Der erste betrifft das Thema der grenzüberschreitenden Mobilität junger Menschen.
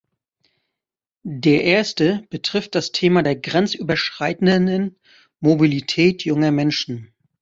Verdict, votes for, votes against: rejected, 1, 2